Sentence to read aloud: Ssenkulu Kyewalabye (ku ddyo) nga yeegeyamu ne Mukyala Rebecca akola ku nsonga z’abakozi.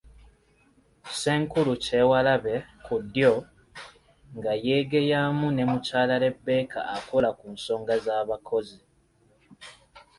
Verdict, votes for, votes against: accepted, 3, 0